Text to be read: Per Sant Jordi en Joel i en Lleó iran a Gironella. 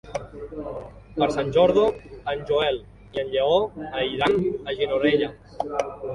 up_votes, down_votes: 0, 2